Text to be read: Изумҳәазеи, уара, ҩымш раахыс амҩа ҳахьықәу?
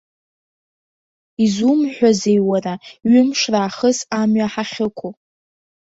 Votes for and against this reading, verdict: 1, 2, rejected